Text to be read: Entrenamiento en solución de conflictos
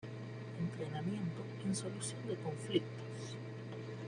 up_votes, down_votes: 2, 0